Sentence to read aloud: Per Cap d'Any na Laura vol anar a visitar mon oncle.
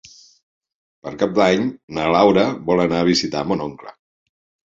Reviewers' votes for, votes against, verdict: 3, 0, accepted